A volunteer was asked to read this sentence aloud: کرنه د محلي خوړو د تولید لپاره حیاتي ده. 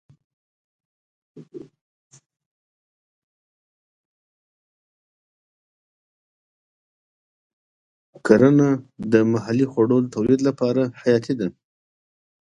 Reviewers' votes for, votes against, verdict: 1, 2, rejected